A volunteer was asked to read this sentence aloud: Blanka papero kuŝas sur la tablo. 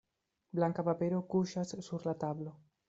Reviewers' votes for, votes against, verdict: 2, 0, accepted